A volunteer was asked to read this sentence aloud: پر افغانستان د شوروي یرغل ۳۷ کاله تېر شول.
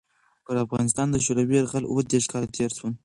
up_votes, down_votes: 0, 2